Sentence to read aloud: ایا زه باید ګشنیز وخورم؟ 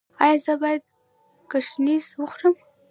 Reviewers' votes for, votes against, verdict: 0, 2, rejected